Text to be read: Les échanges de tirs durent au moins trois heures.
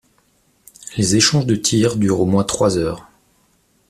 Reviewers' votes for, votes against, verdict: 2, 0, accepted